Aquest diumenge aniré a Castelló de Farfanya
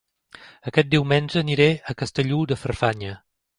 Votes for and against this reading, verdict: 0, 2, rejected